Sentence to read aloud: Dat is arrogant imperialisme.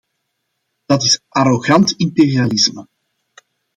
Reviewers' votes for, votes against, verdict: 2, 0, accepted